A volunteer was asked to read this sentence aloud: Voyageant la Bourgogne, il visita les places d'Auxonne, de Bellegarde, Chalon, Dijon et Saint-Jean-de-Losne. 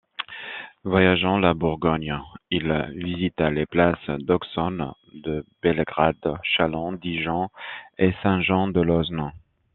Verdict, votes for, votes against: rejected, 1, 2